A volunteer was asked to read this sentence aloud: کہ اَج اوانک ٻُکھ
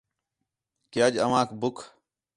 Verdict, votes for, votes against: accepted, 4, 0